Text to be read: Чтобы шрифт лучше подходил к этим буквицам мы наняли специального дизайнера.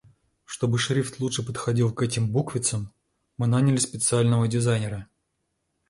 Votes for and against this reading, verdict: 2, 0, accepted